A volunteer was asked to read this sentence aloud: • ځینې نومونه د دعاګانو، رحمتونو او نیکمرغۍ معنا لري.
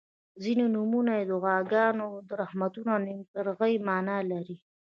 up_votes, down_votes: 1, 2